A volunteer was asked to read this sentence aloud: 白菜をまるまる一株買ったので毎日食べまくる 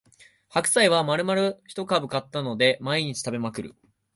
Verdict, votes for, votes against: rejected, 1, 3